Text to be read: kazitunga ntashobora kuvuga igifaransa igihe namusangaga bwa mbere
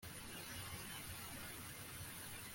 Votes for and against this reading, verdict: 0, 2, rejected